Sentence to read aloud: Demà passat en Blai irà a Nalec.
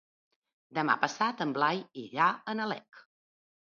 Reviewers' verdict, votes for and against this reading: accepted, 3, 0